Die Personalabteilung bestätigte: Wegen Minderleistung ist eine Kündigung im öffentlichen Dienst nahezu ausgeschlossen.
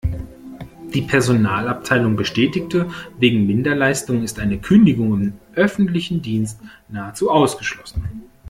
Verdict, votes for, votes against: accepted, 2, 0